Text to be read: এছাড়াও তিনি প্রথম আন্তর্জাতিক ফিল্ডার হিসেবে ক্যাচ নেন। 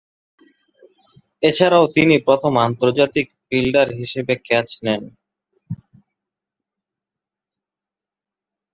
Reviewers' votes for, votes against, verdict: 1, 2, rejected